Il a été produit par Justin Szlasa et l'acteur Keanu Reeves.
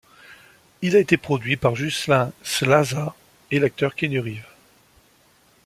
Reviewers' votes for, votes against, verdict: 0, 2, rejected